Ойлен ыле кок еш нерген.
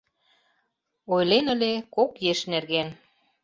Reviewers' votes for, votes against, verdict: 2, 0, accepted